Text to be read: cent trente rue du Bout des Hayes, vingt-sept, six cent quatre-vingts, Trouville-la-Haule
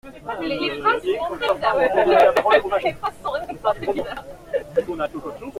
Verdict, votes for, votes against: rejected, 0, 2